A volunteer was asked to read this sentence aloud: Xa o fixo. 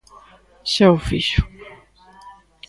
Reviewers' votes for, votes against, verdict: 2, 0, accepted